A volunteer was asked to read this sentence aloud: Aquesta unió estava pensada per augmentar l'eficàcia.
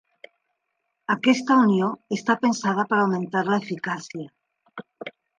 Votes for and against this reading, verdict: 0, 3, rejected